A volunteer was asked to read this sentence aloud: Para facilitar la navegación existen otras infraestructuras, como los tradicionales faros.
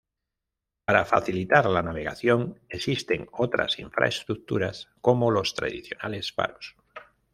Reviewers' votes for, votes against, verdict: 2, 0, accepted